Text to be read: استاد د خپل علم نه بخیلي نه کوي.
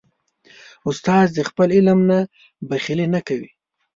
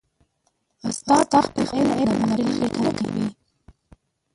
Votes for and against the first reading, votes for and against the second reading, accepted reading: 3, 0, 1, 2, first